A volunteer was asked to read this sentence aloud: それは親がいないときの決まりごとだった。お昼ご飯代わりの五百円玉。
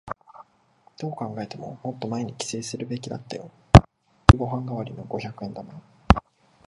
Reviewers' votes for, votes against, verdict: 0, 2, rejected